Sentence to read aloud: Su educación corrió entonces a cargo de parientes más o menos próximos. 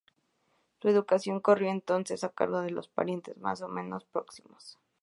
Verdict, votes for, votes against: rejected, 0, 2